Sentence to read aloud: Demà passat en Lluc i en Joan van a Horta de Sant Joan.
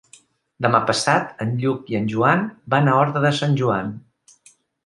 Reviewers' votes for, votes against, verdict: 2, 0, accepted